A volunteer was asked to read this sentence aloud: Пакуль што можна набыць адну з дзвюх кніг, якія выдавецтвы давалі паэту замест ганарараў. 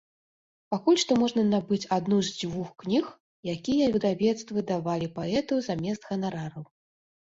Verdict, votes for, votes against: rejected, 0, 2